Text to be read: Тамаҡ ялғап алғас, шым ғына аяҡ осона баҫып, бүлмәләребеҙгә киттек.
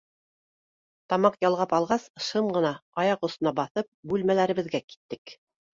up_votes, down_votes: 2, 0